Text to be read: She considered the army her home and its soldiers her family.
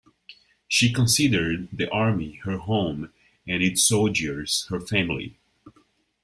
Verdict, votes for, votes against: accepted, 2, 0